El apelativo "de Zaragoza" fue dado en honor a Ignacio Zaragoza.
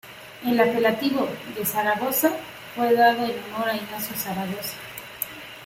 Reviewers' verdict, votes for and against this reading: rejected, 0, 2